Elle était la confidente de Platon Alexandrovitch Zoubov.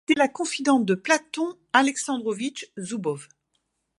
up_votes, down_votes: 0, 2